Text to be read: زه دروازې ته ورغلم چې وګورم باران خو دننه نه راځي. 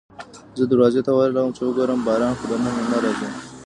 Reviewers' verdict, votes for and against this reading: rejected, 1, 2